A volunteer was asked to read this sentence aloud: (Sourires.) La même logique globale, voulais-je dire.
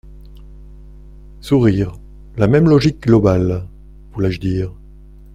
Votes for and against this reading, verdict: 2, 0, accepted